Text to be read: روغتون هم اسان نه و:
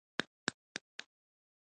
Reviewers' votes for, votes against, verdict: 1, 2, rejected